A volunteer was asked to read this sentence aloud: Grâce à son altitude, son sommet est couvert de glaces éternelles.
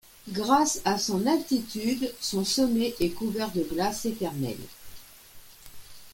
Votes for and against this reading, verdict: 2, 0, accepted